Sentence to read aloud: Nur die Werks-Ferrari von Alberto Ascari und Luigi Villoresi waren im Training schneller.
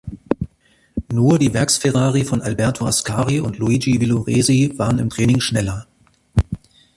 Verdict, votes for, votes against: accepted, 2, 0